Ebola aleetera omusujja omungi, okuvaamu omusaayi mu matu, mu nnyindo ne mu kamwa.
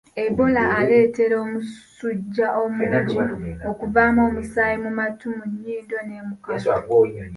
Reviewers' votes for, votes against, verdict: 2, 1, accepted